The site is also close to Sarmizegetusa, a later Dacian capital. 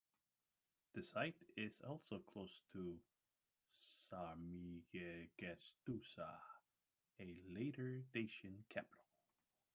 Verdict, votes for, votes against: rejected, 1, 2